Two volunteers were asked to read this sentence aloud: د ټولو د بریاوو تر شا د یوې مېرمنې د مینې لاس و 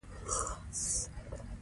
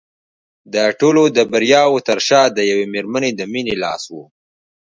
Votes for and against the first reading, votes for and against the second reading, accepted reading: 0, 2, 2, 0, second